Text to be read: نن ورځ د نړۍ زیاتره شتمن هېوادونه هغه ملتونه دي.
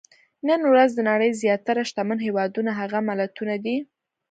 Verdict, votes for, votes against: accepted, 2, 0